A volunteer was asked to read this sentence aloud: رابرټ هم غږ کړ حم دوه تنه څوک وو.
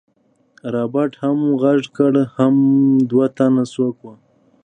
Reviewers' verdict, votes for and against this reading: accepted, 2, 0